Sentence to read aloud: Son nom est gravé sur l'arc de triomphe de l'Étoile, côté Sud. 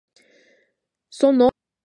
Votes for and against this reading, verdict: 0, 2, rejected